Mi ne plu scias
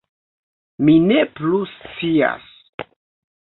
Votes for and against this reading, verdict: 1, 2, rejected